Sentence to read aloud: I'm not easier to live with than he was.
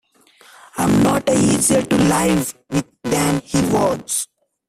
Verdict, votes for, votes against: rejected, 1, 3